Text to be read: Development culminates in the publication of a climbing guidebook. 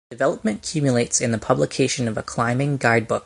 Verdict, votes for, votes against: rejected, 0, 2